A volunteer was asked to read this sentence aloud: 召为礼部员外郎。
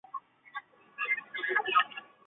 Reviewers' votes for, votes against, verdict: 2, 3, rejected